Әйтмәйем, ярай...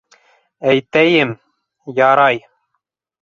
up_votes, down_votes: 0, 2